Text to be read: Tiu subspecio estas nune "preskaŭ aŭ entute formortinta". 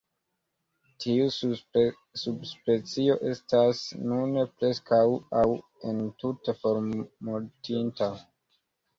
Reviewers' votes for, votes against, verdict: 0, 2, rejected